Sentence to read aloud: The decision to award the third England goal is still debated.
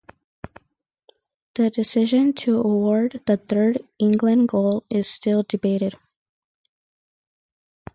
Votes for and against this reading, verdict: 4, 0, accepted